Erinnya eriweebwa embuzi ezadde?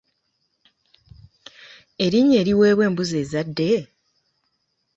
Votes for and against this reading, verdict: 2, 0, accepted